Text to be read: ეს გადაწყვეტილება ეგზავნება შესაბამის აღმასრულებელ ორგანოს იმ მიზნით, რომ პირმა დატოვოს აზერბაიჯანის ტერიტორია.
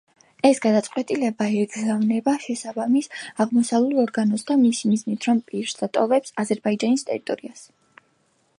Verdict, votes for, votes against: rejected, 0, 2